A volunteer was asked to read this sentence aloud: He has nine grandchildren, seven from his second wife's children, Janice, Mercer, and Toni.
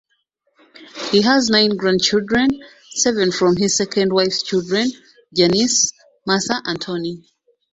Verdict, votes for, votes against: rejected, 0, 2